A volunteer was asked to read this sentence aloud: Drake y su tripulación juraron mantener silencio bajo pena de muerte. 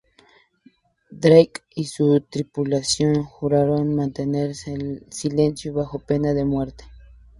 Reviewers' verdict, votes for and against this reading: accepted, 2, 0